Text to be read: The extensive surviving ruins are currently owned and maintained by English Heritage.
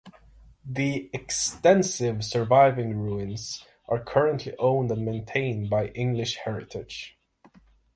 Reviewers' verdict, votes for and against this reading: accepted, 6, 0